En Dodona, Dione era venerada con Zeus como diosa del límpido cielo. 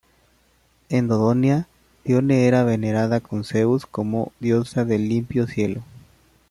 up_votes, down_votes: 1, 2